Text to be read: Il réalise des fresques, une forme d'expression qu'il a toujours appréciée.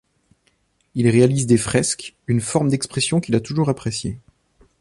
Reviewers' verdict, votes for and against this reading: accepted, 2, 0